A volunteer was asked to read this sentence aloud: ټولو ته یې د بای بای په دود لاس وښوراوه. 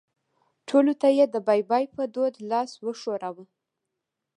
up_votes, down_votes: 2, 0